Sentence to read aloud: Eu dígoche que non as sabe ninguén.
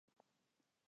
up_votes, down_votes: 0, 2